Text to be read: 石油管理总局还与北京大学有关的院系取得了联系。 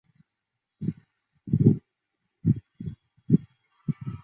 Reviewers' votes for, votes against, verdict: 0, 4, rejected